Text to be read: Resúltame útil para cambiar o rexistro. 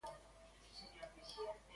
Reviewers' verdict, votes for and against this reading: rejected, 0, 3